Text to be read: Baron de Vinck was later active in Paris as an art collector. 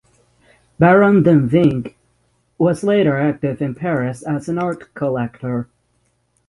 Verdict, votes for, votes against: accepted, 6, 0